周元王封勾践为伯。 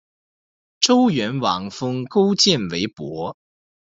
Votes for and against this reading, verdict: 2, 0, accepted